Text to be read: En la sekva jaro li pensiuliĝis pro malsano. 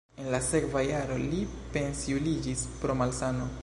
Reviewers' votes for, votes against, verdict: 2, 0, accepted